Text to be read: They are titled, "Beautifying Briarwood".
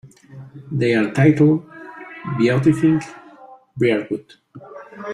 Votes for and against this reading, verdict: 0, 2, rejected